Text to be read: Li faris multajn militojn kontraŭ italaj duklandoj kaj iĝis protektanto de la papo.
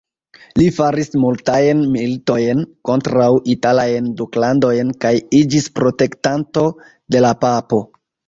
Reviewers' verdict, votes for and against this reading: rejected, 1, 2